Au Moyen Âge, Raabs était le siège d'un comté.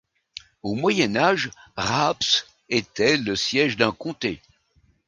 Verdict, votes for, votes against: accepted, 2, 0